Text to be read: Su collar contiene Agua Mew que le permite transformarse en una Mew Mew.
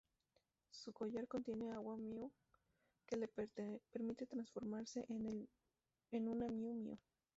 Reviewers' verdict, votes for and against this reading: rejected, 0, 4